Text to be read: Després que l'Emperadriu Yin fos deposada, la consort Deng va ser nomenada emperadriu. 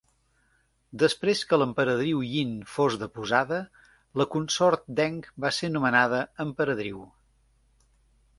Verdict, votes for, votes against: accepted, 2, 0